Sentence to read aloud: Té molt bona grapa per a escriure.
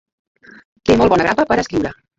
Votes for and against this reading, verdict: 0, 2, rejected